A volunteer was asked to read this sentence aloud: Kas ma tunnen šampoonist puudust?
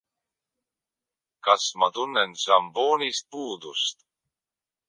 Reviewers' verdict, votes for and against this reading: accepted, 2, 0